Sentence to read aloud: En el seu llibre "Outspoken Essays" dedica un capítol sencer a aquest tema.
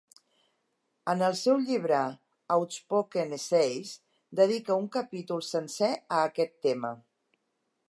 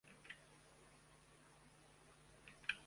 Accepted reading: first